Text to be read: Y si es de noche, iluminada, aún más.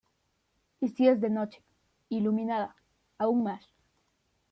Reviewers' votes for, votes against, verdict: 2, 1, accepted